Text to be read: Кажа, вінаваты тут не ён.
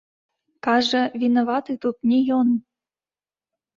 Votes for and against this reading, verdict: 2, 0, accepted